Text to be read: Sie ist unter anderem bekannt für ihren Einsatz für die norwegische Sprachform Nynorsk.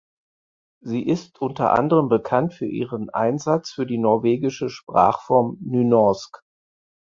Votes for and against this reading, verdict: 4, 0, accepted